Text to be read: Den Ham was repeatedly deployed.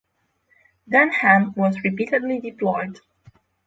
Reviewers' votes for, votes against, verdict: 6, 0, accepted